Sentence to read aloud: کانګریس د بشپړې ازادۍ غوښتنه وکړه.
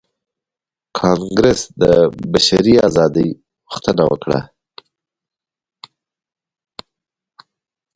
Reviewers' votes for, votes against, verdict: 1, 2, rejected